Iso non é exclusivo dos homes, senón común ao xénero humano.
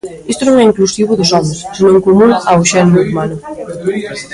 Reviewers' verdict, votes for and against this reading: rejected, 0, 2